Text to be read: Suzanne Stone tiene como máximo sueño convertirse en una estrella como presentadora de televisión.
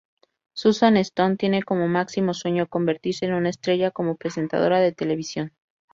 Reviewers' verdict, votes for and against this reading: accepted, 2, 0